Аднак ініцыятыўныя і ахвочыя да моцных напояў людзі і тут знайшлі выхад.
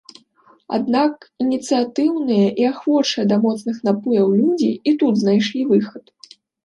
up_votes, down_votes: 2, 0